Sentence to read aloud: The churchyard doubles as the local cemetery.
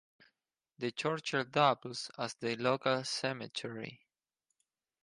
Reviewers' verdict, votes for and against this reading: accepted, 4, 0